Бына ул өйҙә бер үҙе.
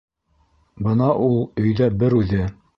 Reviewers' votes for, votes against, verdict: 5, 0, accepted